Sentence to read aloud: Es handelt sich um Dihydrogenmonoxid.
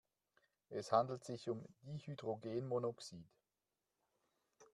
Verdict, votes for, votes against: rejected, 0, 2